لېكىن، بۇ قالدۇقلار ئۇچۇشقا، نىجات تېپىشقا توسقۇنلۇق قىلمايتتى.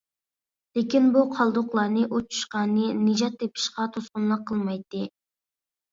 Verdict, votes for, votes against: rejected, 0, 2